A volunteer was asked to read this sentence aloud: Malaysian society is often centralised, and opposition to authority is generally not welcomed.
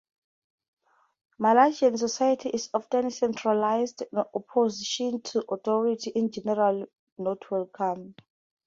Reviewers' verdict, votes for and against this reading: rejected, 2, 2